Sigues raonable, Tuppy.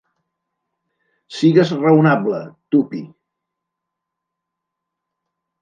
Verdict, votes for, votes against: rejected, 1, 2